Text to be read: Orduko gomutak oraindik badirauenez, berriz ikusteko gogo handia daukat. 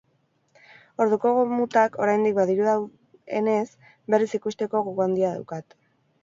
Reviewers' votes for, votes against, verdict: 0, 4, rejected